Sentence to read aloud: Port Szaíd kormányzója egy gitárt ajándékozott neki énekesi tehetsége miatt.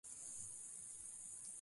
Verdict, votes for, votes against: rejected, 0, 2